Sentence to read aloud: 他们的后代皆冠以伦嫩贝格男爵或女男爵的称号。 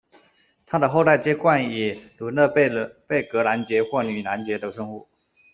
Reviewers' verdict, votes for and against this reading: rejected, 0, 2